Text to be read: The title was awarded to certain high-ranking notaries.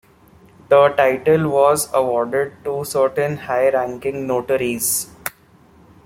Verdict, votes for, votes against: rejected, 1, 2